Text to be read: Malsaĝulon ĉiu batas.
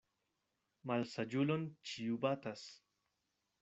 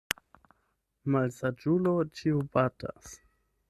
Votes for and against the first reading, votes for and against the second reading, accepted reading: 2, 0, 0, 8, first